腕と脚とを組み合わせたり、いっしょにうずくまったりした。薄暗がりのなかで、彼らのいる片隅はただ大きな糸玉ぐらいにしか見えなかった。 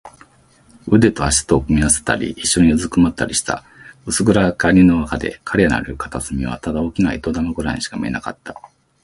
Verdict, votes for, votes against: accepted, 2, 1